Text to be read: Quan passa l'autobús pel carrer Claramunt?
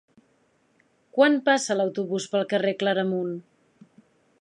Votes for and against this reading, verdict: 3, 0, accepted